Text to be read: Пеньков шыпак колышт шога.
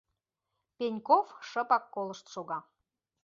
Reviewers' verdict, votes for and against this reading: accepted, 2, 0